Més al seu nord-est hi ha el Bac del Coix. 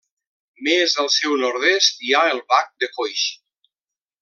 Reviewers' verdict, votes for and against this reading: rejected, 0, 2